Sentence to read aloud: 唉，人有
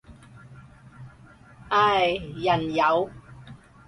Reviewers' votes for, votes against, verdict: 4, 0, accepted